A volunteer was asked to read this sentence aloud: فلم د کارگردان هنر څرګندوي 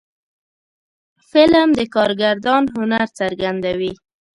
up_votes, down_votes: 2, 0